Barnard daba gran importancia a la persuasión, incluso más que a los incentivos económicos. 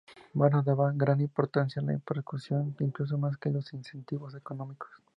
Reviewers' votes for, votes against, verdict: 0, 2, rejected